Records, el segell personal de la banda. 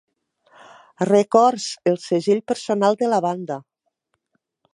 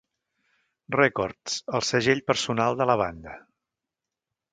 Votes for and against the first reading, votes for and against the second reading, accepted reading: 4, 0, 1, 2, first